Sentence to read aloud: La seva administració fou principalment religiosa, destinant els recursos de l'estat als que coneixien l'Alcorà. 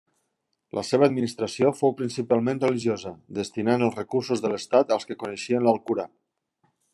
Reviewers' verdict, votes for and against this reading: accepted, 2, 0